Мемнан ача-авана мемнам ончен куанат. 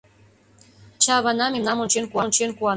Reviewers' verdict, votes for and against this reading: rejected, 0, 2